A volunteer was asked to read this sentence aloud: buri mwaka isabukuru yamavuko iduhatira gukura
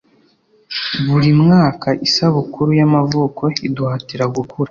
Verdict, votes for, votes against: accepted, 2, 0